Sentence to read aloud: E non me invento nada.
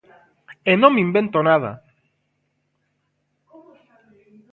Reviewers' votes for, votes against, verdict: 1, 2, rejected